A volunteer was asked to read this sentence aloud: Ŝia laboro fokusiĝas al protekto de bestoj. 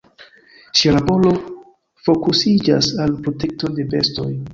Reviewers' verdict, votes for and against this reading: accepted, 2, 0